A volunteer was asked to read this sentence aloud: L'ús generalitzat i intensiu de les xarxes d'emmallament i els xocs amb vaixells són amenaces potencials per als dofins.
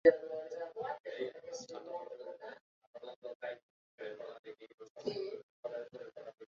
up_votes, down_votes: 0, 2